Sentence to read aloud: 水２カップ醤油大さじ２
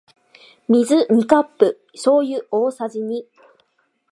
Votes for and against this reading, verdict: 0, 2, rejected